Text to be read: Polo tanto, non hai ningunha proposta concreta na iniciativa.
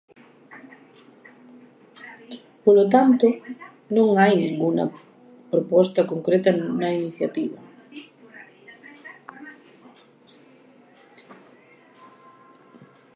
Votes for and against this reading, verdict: 0, 2, rejected